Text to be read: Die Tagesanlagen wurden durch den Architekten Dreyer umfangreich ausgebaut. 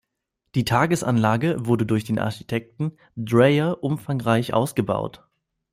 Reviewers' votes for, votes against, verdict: 1, 2, rejected